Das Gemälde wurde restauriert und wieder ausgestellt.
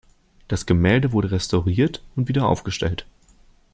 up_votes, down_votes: 0, 2